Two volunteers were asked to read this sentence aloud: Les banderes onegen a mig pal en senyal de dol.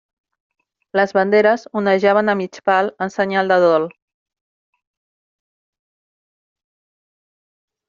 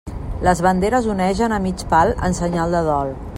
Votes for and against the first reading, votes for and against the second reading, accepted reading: 0, 2, 2, 0, second